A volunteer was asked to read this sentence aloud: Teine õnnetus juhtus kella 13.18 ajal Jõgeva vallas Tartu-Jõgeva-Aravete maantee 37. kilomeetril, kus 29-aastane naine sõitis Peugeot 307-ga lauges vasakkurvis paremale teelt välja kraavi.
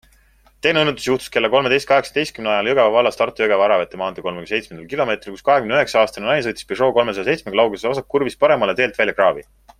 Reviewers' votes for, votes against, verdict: 0, 2, rejected